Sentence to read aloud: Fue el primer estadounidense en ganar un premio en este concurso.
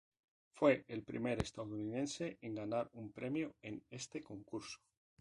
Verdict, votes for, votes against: accepted, 2, 0